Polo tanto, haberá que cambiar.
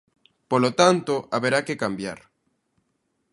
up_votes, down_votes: 2, 0